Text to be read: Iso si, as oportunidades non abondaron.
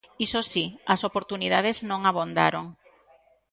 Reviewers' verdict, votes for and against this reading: accepted, 2, 1